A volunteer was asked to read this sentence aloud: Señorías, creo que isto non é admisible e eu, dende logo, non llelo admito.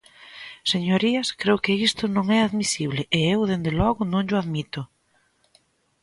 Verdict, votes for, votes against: rejected, 0, 2